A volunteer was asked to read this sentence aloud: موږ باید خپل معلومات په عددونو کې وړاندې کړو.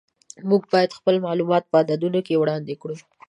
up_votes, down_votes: 2, 0